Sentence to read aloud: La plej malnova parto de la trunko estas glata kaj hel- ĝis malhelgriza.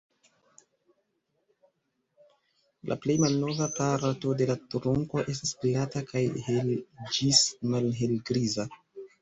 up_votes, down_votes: 1, 2